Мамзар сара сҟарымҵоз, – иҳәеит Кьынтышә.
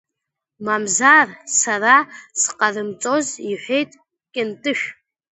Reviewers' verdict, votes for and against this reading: rejected, 1, 2